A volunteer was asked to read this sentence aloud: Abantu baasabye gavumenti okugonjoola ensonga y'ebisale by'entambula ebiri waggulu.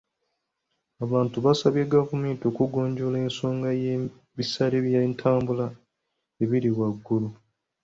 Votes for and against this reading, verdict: 2, 0, accepted